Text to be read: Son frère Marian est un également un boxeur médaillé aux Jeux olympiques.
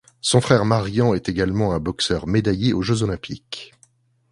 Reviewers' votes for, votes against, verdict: 1, 2, rejected